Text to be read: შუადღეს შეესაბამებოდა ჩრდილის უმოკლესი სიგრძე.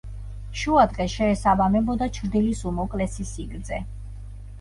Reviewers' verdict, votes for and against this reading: accepted, 2, 0